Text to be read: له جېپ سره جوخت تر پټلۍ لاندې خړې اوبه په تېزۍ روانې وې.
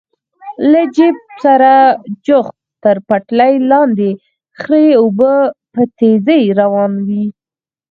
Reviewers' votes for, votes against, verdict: 2, 4, rejected